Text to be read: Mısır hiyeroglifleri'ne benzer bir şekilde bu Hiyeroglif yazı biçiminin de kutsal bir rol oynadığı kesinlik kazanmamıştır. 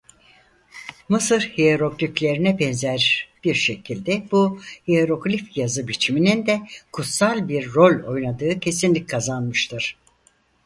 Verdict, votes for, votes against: rejected, 0, 4